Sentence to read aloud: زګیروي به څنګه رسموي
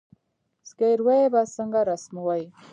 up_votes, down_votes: 1, 2